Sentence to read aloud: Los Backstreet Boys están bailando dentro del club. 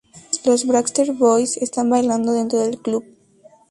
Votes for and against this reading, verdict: 2, 0, accepted